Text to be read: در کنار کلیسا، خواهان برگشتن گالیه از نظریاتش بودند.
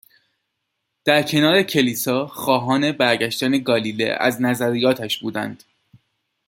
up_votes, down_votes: 2, 0